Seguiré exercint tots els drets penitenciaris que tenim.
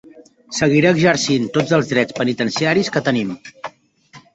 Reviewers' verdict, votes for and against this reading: accepted, 2, 0